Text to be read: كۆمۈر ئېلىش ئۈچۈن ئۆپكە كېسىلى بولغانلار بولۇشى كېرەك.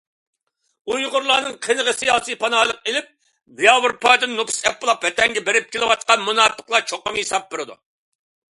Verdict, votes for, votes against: rejected, 0, 2